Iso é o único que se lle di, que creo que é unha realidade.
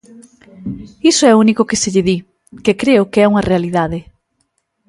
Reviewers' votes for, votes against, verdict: 2, 0, accepted